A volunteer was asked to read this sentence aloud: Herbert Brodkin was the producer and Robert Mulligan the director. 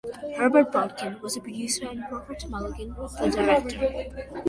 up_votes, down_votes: 1, 2